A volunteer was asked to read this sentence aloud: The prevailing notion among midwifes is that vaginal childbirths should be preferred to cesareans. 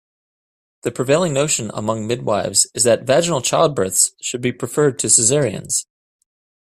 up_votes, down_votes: 2, 0